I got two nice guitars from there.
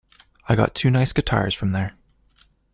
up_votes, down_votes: 2, 0